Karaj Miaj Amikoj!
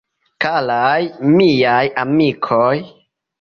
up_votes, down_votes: 2, 0